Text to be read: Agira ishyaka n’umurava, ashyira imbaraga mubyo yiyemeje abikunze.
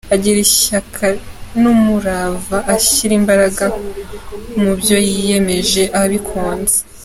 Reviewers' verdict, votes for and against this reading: accepted, 3, 0